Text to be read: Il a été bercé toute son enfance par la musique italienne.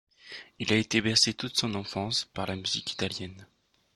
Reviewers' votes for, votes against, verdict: 2, 0, accepted